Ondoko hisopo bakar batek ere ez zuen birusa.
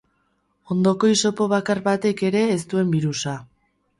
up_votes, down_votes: 2, 4